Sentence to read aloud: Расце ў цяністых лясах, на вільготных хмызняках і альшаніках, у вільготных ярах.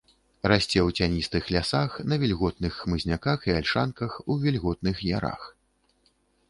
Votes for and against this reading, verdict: 0, 2, rejected